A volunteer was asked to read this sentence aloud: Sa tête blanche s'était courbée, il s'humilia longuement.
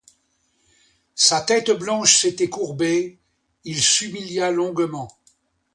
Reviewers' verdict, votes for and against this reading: accepted, 2, 0